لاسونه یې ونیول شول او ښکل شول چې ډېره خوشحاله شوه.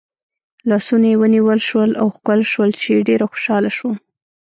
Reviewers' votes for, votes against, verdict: 1, 2, rejected